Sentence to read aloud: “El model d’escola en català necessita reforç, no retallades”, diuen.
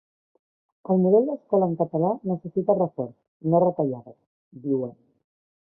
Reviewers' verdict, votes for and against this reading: accepted, 3, 1